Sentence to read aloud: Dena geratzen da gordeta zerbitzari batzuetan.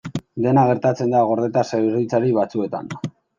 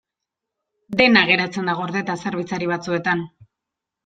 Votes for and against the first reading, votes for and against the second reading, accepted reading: 0, 2, 2, 0, second